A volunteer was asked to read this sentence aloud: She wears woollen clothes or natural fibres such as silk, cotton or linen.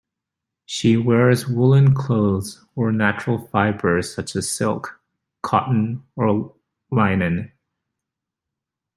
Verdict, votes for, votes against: rejected, 0, 2